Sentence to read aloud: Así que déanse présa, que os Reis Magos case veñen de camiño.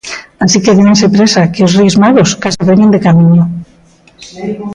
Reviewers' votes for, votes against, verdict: 1, 2, rejected